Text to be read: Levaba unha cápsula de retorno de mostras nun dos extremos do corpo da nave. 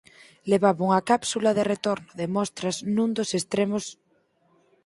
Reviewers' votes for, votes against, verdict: 0, 4, rejected